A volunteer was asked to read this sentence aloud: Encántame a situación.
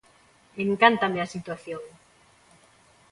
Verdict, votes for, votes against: accepted, 2, 0